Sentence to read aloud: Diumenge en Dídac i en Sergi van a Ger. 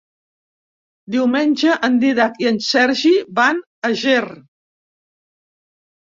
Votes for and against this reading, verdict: 3, 0, accepted